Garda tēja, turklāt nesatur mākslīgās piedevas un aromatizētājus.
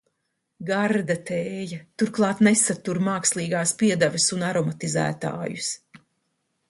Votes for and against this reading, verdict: 2, 0, accepted